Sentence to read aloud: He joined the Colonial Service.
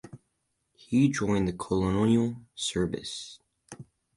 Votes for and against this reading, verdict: 4, 0, accepted